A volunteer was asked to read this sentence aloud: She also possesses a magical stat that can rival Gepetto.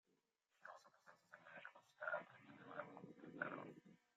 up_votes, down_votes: 0, 2